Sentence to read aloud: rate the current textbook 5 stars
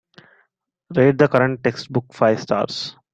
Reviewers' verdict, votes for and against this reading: rejected, 0, 2